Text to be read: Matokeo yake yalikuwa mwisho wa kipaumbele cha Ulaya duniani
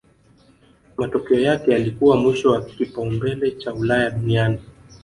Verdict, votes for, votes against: accepted, 3, 1